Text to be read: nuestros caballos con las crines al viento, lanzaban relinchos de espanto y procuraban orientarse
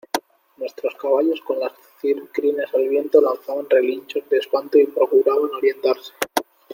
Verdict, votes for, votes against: rejected, 0, 2